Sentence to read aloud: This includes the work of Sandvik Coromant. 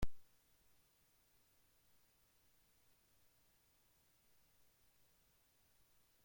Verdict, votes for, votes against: rejected, 0, 2